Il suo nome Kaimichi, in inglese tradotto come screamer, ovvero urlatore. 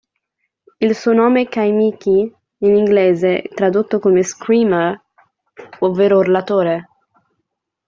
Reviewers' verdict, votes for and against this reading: accepted, 2, 0